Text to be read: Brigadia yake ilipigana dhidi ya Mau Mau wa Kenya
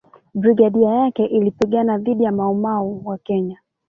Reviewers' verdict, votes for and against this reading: rejected, 1, 2